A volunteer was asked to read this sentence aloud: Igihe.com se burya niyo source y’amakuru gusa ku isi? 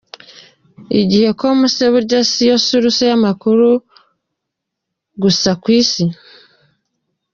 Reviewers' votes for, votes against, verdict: 2, 1, accepted